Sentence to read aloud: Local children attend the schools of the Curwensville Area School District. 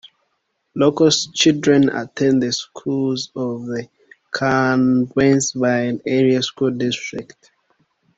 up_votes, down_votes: 1, 2